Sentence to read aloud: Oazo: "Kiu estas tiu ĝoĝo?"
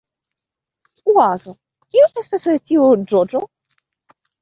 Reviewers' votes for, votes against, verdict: 1, 2, rejected